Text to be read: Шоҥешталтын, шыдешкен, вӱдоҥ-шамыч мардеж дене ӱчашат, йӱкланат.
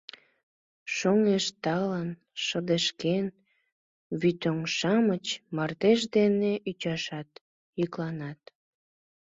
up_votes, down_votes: 1, 2